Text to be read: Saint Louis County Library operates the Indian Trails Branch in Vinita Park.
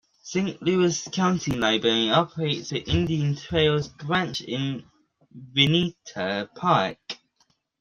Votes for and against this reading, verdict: 2, 1, accepted